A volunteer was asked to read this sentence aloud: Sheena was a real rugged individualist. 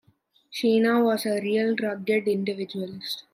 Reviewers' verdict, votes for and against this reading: rejected, 1, 2